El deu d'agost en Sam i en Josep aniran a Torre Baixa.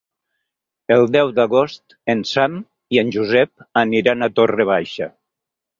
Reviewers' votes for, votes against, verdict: 4, 0, accepted